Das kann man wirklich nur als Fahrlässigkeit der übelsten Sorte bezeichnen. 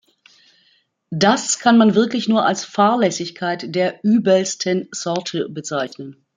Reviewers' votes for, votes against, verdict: 2, 0, accepted